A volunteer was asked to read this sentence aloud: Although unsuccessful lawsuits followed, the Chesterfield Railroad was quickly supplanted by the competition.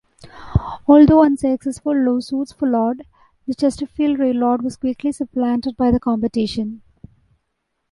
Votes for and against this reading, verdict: 2, 1, accepted